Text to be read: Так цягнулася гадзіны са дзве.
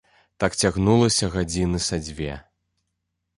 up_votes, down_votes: 2, 0